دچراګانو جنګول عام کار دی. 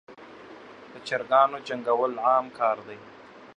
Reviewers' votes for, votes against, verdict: 2, 0, accepted